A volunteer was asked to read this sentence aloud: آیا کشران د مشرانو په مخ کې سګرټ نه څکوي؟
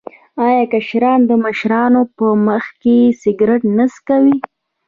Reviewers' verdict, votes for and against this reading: rejected, 0, 2